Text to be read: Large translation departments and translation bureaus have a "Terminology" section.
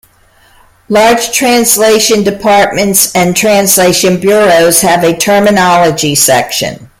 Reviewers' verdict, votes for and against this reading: accepted, 2, 0